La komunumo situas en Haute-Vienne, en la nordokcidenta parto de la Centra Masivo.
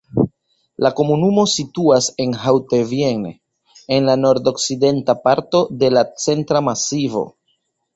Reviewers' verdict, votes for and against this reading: accepted, 2, 0